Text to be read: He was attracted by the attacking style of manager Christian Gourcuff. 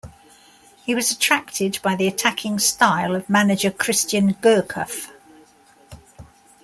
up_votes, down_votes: 2, 0